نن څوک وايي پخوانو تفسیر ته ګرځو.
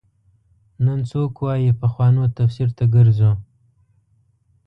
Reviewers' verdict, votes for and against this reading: accepted, 2, 0